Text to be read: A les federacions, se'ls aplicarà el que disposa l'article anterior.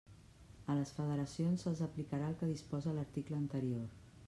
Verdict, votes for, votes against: rejected, 1, 2